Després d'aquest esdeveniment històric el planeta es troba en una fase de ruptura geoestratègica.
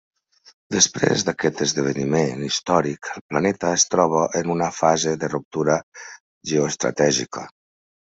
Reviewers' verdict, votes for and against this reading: accepted, 2, 1